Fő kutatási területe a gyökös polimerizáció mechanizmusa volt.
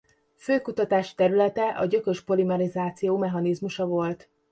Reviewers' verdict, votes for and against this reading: accepted, 2, 0